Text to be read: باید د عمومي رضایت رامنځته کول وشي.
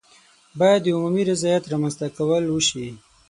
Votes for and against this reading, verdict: 6, 0, accepted